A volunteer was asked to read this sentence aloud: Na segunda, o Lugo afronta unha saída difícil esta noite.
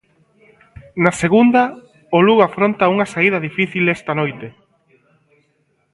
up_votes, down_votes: 2, 0